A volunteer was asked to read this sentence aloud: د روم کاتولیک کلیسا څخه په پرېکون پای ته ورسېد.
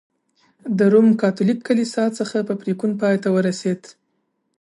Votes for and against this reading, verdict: 2, 0, accepted